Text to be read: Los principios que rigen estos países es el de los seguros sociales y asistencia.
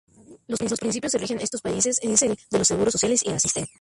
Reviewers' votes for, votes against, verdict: 0, 2, rejected